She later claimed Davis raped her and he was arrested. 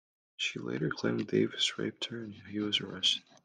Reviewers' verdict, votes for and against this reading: rejected, 0, 2